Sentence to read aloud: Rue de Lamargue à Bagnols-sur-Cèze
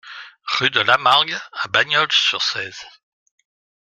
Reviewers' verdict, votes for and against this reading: accepted, 2, 0